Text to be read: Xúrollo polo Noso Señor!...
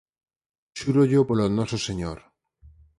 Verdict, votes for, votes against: accepted, 4, 2